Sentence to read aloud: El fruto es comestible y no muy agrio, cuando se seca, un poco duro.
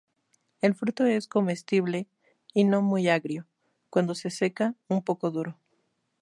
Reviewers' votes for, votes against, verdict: 2, 0, accepted